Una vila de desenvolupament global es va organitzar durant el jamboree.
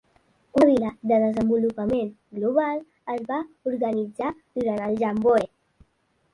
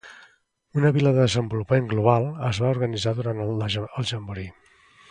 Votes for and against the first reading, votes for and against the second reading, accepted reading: 1, 2, 2, 0, second